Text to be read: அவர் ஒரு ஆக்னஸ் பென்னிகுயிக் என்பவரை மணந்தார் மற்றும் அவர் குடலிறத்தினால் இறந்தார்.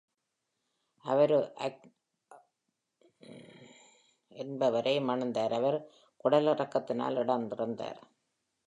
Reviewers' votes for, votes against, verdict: 0, 2, rejected